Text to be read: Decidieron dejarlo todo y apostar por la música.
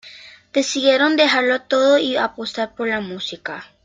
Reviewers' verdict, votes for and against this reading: accepted, 2, 0